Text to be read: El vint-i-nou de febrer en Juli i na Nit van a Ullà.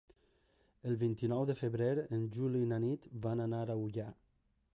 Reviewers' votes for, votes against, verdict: 0, 2, rejected